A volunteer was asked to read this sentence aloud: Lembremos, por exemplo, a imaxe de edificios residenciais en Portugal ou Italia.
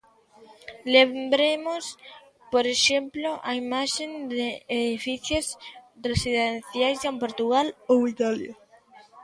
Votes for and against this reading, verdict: 0, 2, rejected